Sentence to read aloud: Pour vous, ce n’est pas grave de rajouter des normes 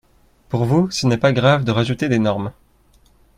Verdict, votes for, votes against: accepted, 2, 0